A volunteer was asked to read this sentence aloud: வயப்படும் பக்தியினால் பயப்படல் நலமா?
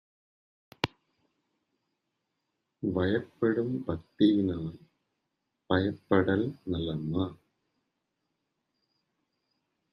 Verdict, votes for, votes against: rejected, 1, 2